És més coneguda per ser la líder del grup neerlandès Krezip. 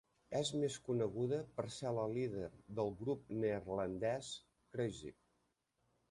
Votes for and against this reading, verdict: 1, 2, rejected